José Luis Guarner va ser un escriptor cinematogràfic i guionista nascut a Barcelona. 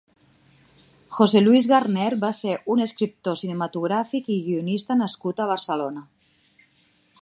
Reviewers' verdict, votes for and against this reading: rejected, 1, 2